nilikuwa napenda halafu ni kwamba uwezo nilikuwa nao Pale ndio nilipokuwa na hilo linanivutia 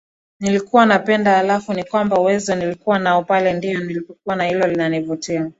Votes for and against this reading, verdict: 4, 1, accepted